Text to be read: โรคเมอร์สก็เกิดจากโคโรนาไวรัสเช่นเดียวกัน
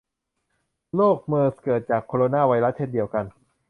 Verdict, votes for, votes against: rejected, 0, 2